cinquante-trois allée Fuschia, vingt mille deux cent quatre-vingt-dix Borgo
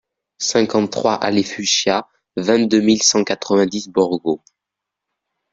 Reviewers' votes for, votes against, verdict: 0, 2, rejected